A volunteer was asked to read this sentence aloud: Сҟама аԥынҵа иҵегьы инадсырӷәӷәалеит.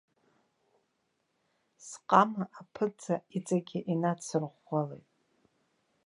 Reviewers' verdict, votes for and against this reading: accepted, 2, 0